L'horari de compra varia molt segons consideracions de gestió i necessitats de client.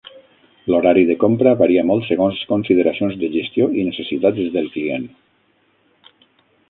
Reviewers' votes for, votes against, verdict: 0, 6, rejected